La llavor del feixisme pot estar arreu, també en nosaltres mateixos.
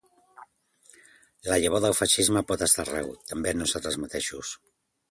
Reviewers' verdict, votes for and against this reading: accepted, 2, 0